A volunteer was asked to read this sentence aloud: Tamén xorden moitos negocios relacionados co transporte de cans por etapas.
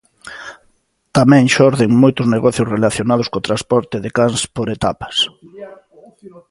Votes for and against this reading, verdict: 2, 1, accepted